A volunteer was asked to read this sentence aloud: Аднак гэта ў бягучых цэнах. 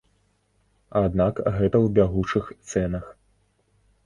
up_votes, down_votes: 2, 0